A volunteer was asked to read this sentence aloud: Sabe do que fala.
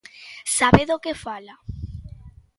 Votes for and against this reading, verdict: 2, 0, accepted